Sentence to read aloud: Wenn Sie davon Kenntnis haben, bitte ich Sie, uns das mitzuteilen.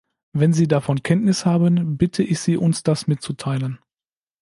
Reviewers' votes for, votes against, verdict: 2, 0, accepted